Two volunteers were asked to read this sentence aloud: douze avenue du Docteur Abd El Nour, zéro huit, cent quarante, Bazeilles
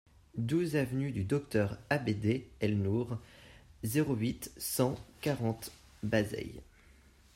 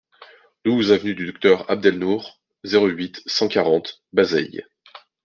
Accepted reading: second